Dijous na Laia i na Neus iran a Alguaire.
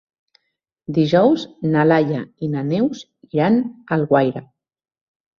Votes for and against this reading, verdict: 2, 0, accepted